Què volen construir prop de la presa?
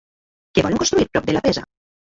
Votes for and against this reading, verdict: 0, 2, rejected